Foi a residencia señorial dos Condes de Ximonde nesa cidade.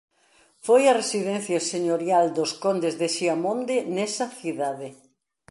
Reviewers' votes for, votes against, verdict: 1, 2, rejected